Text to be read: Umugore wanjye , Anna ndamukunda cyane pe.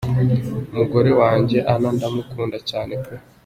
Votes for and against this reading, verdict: 2, 1, accepted